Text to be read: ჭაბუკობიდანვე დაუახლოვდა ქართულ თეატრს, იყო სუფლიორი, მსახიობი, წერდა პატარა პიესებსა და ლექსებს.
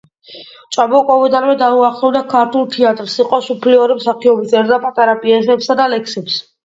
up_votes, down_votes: 2, 0